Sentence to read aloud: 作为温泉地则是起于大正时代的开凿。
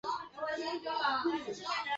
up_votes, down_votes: 0, 3